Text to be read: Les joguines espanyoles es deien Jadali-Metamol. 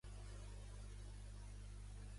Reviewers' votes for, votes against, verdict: 1, 2, rejected